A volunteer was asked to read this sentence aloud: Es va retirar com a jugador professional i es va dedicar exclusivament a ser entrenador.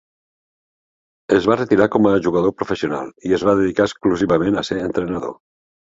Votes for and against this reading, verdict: 3, 0, accepted